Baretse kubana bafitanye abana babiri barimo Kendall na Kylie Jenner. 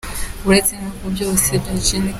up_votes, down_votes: 0, 2